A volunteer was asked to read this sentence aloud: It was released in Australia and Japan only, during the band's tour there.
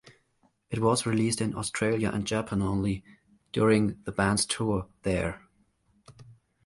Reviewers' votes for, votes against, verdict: 2, 1, accepted